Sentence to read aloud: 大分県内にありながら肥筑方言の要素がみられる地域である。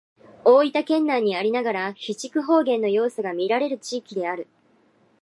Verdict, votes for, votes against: rejected, 1, 2